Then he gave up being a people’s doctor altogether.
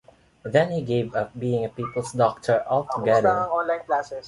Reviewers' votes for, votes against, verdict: 1, 2, rejected